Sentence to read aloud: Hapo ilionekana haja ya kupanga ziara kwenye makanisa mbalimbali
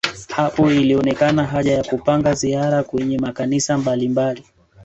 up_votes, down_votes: 2, 3